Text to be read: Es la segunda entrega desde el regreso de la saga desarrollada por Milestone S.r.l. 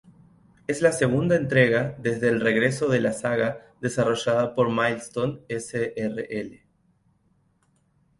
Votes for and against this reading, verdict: 2, 0, accepted